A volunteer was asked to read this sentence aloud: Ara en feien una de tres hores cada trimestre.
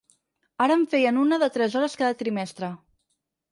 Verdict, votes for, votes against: accepted, 10, 0